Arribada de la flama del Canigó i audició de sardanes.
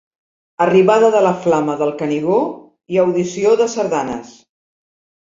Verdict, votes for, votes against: accepted, 2, 0